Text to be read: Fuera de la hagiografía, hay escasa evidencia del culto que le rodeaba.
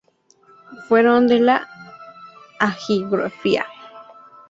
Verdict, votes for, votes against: rejected, 0, 2